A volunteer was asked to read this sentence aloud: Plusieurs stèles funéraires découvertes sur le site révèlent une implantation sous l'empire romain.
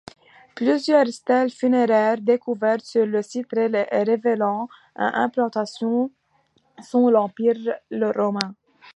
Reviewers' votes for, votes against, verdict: 1, 2, rejected